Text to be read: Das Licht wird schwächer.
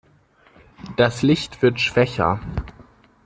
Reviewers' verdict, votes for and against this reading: accepted, 2, 0